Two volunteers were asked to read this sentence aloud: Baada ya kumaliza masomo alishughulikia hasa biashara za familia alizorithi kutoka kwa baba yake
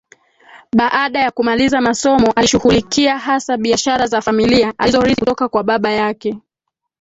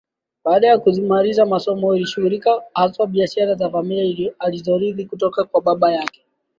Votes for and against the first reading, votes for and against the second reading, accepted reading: 2, 3, 2, 0, second